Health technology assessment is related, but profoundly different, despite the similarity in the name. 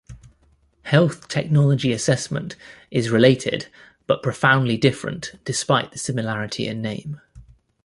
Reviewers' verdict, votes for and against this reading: rejected, 1, 2